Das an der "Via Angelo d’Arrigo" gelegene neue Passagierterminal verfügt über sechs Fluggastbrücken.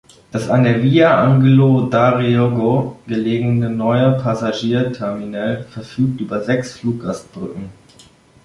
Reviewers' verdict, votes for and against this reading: rejected, 1, 2